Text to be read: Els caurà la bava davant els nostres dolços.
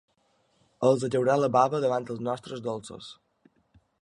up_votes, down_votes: 2, 0